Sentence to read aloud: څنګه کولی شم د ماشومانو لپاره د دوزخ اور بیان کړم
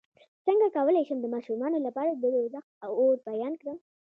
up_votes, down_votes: 2, 0